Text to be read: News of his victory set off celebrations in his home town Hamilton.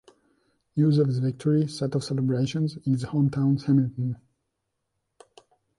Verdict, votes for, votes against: accepted, 2, 0